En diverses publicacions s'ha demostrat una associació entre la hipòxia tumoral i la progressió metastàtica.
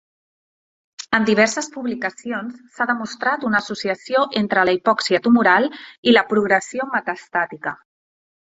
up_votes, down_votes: 3, 0